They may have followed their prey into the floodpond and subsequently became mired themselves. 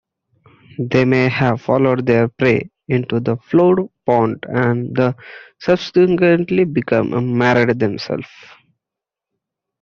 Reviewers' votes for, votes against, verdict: 0, 2, rejected